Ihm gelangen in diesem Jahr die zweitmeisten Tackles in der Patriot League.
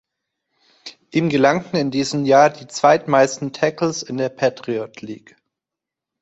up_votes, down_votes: 2, 1